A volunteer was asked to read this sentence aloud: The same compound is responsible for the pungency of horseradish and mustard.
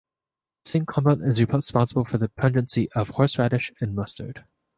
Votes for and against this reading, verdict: 1, 3, rejected